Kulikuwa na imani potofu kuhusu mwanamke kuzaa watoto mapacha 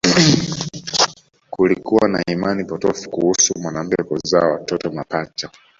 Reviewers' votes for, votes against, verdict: 2, 0, accepted